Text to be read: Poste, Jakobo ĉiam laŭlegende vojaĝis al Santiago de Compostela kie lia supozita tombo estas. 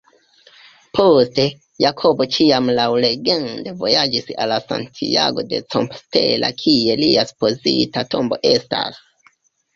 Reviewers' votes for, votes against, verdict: 0, 2, rejected